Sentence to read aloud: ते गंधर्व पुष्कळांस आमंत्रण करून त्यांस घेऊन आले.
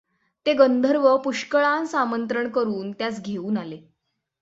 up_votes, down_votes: 6, 0